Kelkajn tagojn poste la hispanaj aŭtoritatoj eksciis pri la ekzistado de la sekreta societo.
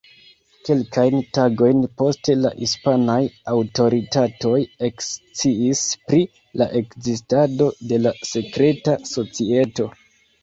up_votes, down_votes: 0, 2